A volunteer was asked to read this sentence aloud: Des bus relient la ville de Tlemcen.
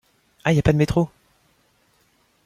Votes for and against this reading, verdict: 0, 2, rejected